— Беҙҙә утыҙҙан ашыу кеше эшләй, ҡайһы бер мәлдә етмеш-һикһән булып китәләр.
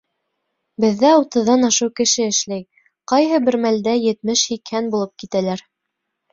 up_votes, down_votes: 3, 0